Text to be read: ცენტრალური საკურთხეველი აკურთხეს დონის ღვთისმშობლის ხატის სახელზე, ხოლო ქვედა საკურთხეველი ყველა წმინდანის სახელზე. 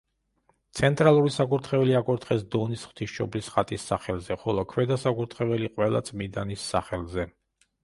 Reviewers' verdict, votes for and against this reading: rejected, 1, 2